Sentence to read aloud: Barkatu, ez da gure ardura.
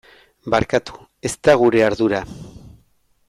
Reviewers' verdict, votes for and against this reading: accepted, 2, 0